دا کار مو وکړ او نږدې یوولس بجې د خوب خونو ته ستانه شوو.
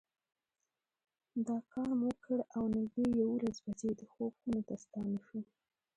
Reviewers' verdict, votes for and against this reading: rejected, 2, 3